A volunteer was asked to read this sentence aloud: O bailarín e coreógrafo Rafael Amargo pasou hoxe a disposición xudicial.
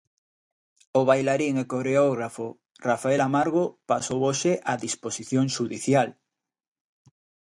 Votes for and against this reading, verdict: 2, 0, accepted